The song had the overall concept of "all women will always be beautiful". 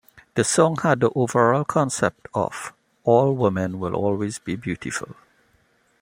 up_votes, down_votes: 2, 0